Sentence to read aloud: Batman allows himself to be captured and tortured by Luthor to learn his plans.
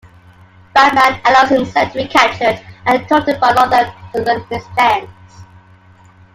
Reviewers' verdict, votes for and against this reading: rejected, 1, 2